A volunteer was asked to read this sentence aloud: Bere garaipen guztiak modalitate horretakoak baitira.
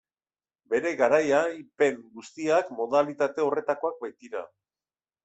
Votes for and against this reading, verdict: 1, 2, rejected